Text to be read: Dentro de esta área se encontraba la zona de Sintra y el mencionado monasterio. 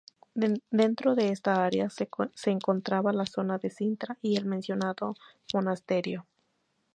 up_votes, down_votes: 0, 2